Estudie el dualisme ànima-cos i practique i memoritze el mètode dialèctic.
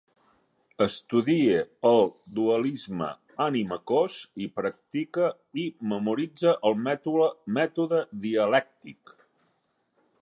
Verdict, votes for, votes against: rejected, 0, 2